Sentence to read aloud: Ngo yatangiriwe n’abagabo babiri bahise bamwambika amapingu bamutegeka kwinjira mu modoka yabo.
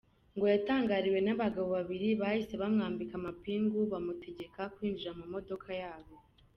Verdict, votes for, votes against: accepted, 2, 0